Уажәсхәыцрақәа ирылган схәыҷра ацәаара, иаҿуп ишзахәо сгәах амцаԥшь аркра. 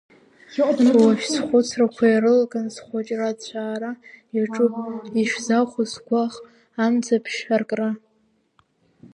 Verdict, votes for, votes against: rejected, 0, 2